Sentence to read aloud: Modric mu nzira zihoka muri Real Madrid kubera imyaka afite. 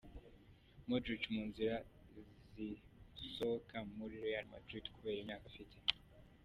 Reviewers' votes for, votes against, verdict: 0, 2, rejected